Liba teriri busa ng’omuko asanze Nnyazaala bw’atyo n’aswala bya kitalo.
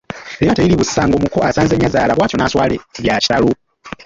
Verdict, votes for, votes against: rejected, 0, 2